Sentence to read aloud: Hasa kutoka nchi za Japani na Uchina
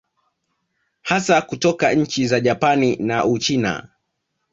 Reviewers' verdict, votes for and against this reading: accepted, 2, 0